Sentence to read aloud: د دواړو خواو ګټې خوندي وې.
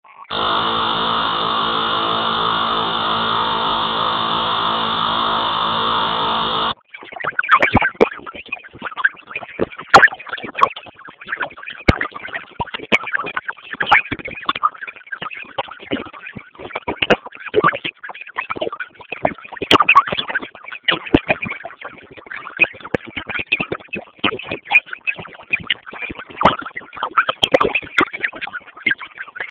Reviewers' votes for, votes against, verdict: 0, 2, rejected